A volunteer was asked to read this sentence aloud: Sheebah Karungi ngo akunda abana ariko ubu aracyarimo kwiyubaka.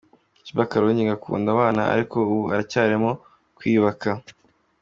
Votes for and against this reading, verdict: 2, 0, accepted